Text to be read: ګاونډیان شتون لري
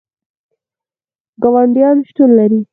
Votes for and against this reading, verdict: 2, 4, rejected